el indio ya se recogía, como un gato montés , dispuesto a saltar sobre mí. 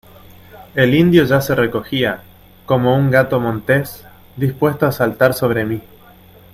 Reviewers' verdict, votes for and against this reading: accepted, 2, 0